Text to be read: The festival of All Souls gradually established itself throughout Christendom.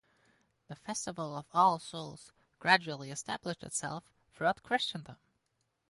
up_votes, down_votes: 2, 0